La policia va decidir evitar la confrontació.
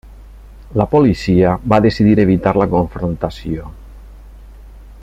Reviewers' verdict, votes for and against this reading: accepted, 3, 0